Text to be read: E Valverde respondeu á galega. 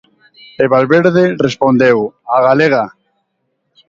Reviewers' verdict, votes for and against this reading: rejected, 1, 2